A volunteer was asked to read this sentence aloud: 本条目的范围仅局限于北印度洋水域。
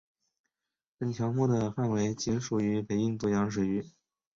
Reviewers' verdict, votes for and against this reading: rejected, 1, 2